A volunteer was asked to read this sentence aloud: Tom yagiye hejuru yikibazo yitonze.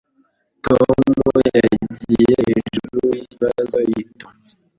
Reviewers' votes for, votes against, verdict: 1, 2, rejected